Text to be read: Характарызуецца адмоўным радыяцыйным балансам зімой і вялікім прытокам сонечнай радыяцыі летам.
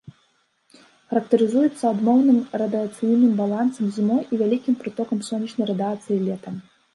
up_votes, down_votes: 2, 0